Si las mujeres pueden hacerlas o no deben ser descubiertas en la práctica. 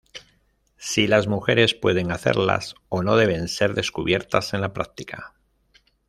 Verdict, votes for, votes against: rejected, 0, 2